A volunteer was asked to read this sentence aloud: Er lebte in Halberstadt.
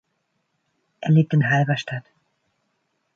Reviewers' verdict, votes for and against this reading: rejected, 0, 2